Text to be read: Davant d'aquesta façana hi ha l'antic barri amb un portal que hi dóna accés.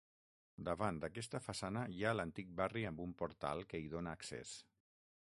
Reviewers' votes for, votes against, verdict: 6, 0, accepted